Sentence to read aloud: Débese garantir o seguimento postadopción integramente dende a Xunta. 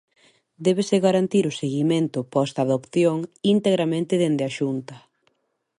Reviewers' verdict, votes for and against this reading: accepted, 2, 0